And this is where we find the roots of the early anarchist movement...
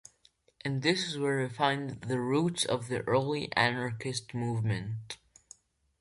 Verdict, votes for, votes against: accepted, 2, 0